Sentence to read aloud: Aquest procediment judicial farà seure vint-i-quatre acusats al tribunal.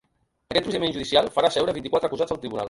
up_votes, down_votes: 0, 2